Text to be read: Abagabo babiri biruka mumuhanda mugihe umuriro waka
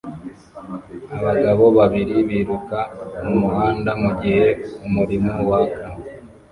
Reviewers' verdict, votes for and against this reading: rejected, 0, 2